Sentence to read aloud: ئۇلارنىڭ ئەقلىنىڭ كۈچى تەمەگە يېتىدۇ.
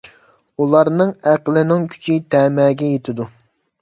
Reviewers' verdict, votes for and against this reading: accepted, 2, 1